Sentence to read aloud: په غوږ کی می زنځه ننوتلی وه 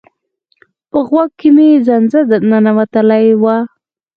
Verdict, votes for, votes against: accepted, 4, 0